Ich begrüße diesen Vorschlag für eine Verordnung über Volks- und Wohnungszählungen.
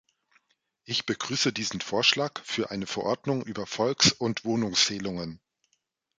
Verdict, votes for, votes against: rejected, 1, 2